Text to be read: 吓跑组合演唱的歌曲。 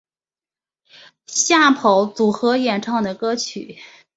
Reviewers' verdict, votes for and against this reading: accepted, 2, 0